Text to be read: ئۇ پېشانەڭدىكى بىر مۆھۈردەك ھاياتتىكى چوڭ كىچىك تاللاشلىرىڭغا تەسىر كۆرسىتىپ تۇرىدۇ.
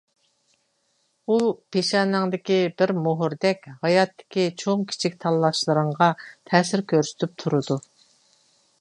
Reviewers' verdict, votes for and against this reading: accepted, 2, 1